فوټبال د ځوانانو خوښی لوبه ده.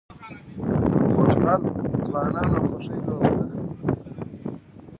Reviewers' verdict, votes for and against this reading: rejected, 1, 2